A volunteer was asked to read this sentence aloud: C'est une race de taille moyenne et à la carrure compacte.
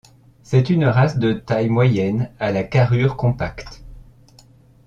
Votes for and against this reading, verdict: 1, 2, rejected